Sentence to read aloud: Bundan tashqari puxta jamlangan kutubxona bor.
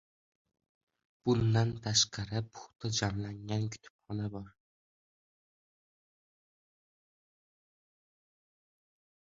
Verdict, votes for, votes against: rejected, 1, 2